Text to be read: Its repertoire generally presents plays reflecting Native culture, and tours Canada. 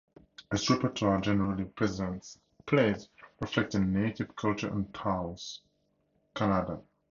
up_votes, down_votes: 0, 2